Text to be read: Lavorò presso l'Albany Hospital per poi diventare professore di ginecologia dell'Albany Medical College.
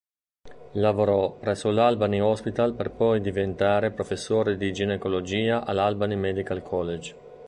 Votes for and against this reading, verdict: 1, 2, rejected